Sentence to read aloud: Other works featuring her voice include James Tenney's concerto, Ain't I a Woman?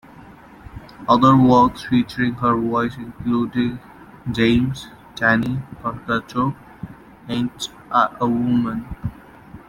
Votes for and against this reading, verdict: 0, 2, rejected